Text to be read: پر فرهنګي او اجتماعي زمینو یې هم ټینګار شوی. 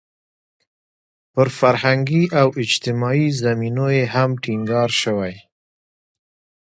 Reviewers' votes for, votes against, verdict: 1, 2, rejected